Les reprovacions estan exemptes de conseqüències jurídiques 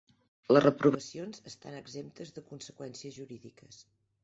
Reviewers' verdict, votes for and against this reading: rejected, 1, 2